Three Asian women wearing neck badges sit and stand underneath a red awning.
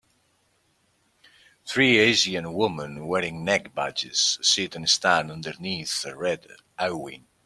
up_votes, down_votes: 0, 2